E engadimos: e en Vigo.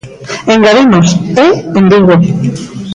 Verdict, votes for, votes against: rejected, 1, 2